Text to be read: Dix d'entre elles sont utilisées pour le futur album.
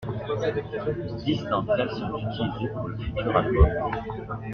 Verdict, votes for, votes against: rejected, 0, 2